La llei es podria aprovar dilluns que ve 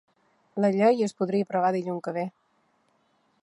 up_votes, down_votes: 1, 2